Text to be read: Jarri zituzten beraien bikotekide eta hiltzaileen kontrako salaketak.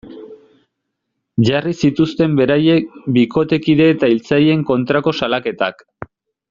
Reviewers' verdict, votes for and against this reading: rejected, 2, 3